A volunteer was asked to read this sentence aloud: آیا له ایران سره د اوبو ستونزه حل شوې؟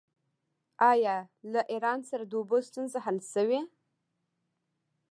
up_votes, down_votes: 1, 2